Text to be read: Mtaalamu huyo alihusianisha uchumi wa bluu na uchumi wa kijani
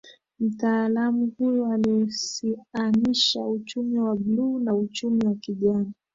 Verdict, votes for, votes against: accepted, 14, 1